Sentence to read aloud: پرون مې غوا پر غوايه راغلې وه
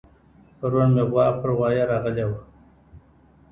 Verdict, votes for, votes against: rejected, 1, 2